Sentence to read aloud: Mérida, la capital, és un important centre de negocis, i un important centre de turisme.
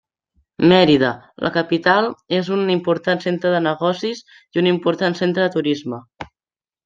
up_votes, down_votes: 2, 0